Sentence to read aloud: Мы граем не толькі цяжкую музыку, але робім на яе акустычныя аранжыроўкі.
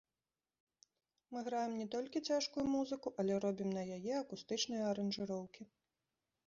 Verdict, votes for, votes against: accepted, 2, 0